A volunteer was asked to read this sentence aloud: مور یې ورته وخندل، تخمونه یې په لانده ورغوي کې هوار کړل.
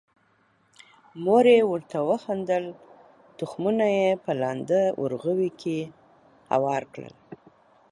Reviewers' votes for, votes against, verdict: 2, 0, accepted